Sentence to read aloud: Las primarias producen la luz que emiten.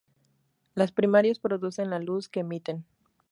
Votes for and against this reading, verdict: 0, 2, rejected